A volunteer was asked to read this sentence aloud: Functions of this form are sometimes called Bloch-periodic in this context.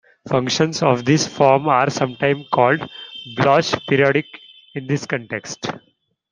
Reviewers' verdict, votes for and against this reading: rejected, 0, 2